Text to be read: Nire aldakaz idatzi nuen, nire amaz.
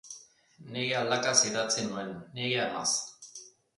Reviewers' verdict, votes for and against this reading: accepted, 2, 0